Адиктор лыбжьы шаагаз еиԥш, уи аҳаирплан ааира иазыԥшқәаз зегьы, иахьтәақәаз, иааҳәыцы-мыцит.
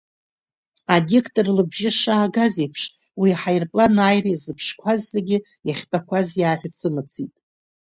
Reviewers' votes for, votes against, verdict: 3, 1, accepted